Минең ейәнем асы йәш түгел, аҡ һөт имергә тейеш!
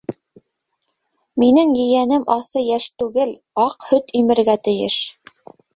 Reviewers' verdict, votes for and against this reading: accepted, 2, 0